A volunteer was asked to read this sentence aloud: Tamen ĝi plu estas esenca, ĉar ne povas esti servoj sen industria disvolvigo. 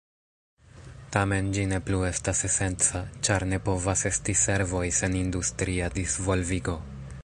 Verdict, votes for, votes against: rejected, 0, 2